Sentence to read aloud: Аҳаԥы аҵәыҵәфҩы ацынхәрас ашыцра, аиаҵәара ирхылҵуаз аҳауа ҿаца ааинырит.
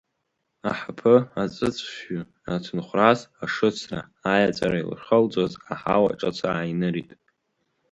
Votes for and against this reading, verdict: 2, 0, accepted